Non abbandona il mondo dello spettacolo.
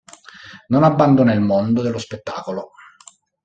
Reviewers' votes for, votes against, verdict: 2, 0, accepted